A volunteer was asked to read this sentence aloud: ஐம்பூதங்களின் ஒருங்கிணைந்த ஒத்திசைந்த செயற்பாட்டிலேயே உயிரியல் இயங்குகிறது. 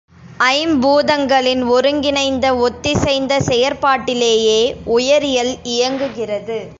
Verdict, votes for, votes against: rejected, 0, 2